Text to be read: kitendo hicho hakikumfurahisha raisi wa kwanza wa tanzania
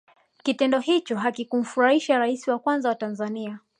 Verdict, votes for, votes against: accepted, 2, 0